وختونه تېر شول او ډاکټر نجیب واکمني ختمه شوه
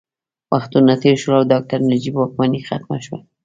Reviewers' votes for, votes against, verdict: 2, 0, accepted